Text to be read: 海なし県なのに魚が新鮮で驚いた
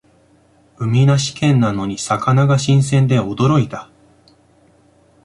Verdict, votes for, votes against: accepted, 2, 0